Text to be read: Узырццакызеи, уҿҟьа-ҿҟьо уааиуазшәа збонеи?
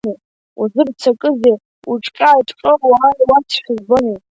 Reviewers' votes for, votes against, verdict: 2, 0, accepted